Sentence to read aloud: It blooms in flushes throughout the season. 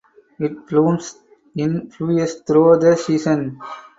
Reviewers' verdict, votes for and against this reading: rejected, 2, 2